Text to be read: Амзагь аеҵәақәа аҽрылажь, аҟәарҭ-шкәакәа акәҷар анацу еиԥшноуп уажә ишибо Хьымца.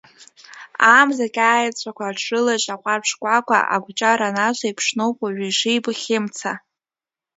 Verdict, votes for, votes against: accepted, 2, 0